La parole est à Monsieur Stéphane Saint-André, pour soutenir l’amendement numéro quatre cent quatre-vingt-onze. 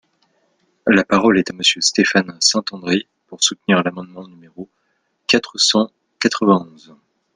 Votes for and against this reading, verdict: 1, 2, rejected